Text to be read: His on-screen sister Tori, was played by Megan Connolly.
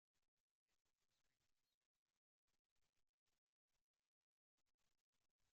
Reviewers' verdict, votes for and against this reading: rejected, 0, 2